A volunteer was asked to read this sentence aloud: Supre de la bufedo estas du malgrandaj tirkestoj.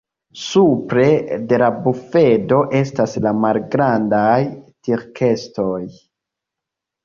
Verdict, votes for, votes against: rejected, 1, 2